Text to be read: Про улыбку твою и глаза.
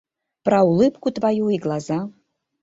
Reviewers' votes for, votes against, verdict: 2, 0, accepted